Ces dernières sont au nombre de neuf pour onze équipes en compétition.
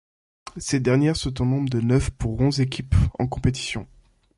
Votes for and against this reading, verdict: 2, 0, accepted